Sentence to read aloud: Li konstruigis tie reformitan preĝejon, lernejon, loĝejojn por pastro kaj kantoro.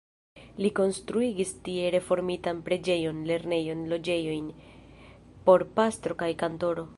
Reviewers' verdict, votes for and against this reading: rejected, 1, 2